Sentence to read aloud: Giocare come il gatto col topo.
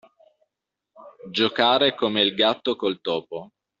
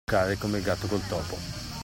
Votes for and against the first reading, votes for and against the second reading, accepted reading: 2, 0, 0, 2, first